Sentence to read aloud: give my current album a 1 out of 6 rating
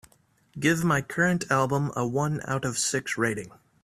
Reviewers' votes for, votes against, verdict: 0, 2, rejected